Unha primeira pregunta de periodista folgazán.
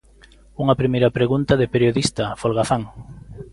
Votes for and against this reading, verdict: 2, 0, accepted